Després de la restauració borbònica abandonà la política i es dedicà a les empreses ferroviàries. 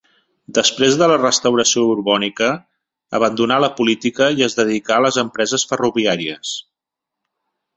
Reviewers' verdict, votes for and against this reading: accepted, 2, 0